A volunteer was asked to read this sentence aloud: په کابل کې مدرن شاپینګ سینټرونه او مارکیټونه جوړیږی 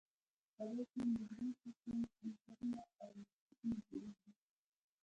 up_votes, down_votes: 1, 2